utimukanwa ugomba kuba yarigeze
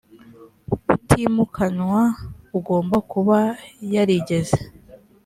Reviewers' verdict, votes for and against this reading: accepted, 2, 0